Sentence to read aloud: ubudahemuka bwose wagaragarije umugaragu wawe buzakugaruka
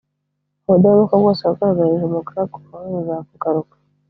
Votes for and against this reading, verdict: 1, 2, rejected